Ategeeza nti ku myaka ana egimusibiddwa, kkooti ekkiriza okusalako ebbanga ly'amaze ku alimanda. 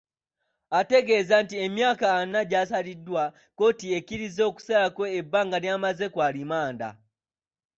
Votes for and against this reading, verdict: 0, 2, rejected